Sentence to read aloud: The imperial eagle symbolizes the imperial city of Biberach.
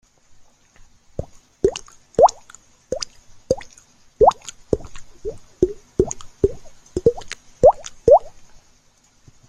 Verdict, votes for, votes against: rejected, 0, 2